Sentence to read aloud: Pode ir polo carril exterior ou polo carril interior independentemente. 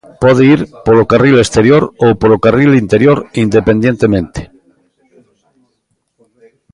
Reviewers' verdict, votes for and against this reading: rejected, 0, 2